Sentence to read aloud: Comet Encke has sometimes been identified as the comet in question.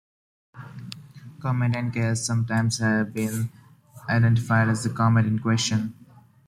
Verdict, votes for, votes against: rejected, 0, 2